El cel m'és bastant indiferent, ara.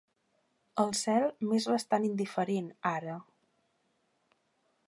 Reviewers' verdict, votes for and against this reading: accepted, 3, 0